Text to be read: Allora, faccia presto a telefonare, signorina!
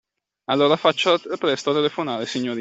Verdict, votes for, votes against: rejected, 0, 2